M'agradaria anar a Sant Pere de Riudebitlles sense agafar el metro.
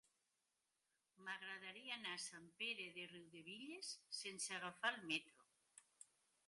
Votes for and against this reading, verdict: 3, 1, accepted